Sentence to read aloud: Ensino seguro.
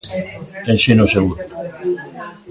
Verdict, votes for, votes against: accepted, 2, 0